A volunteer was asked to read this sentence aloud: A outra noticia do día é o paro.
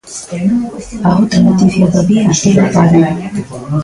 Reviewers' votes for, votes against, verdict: 0, 2, rejected